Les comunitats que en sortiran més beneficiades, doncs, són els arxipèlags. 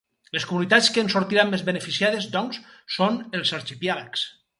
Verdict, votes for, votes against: rejected, 2, 2